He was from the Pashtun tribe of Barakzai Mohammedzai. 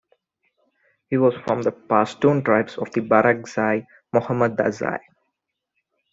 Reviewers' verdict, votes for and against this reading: accepted, 2, 0